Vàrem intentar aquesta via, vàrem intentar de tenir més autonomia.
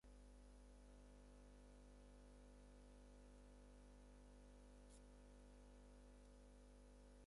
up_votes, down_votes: 2, 6